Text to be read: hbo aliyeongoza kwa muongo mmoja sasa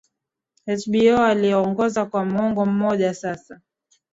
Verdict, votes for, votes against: accepted, 2, 0